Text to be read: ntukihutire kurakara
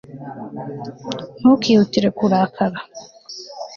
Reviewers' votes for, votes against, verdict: 2, 0, accepted